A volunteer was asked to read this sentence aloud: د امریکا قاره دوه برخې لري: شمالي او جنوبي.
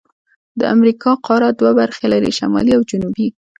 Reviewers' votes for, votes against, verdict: 2, 0, accepted